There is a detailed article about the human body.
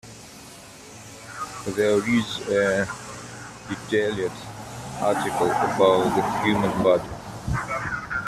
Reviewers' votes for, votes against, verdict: 0, 2, rejected